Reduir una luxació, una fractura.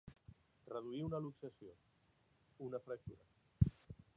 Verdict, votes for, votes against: accepted, 2, 1